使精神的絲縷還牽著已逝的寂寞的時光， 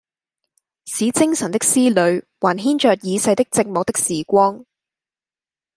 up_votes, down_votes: 0, 3